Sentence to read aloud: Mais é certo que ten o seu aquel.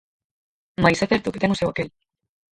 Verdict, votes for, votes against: rejected, 0, 4